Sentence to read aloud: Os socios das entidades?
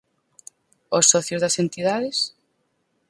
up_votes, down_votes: 4, 0